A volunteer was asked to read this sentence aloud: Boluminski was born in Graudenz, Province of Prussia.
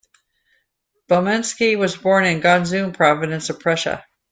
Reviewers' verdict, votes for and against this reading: rejected, 1, 2